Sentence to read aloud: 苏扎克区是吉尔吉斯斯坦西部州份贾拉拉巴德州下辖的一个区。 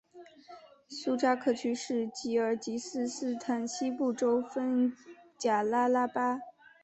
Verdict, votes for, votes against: rejected, 0, 3